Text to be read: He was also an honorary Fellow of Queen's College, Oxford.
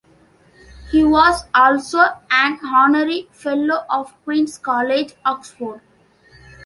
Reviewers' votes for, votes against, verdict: 2, 0, accepted